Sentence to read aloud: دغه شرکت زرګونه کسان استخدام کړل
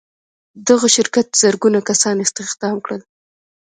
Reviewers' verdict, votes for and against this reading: rejected, 1, 2